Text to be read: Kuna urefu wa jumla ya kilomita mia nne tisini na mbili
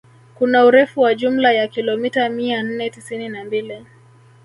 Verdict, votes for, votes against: accepted, 2, 1